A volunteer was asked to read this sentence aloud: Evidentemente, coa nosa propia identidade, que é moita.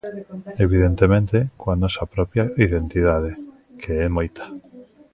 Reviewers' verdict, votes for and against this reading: accepted, 2, 1